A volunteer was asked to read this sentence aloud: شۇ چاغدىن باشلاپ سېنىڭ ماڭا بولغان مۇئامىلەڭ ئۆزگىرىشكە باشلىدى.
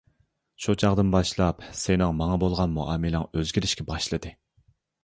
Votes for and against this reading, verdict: 2, 0, accepted